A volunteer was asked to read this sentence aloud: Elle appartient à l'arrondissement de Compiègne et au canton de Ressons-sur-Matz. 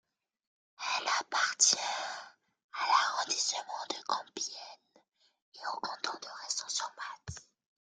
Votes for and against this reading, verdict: 2, 0, accepted